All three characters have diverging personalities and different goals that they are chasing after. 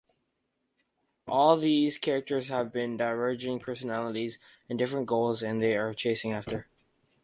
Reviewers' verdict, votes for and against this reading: rejected, 0, 2